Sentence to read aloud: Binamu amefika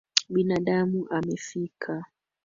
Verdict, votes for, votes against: accepted, 2, 1